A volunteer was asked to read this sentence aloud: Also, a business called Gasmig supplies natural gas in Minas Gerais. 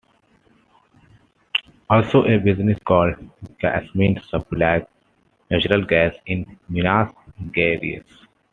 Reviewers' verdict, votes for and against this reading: accepted, 2, 0